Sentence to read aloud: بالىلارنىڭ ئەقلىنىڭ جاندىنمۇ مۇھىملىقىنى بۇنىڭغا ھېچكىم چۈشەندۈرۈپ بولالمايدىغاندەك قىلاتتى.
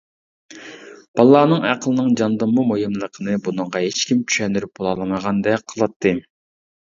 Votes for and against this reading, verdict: 0, 2, rejected